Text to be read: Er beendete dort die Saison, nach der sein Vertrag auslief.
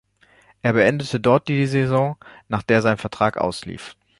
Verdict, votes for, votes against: accepted, 2, 1